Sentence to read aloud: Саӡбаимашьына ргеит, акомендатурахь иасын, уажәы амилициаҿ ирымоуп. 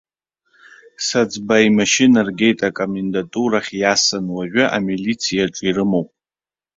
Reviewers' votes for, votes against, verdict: 1, 2, rejected